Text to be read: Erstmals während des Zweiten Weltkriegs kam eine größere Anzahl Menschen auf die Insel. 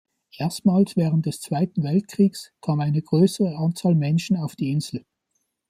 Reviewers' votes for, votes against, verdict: 2, 0, accepted